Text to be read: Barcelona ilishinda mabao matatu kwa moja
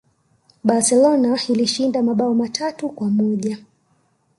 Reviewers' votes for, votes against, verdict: 2, 0, accepted